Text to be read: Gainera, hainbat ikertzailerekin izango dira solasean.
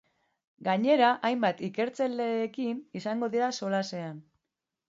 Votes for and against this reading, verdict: 1, 2, rejected